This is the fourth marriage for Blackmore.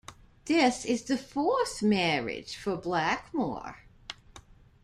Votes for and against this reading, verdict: 2, 0, accepted